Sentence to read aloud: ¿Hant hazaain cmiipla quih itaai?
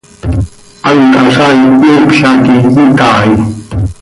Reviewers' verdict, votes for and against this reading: accepted, 2, 0